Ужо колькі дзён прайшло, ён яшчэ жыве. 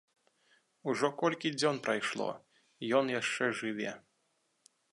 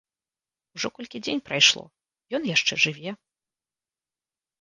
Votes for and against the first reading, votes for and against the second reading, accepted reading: 2, 0, 1, 2, first